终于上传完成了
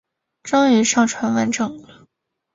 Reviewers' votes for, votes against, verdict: 3, 0, accepted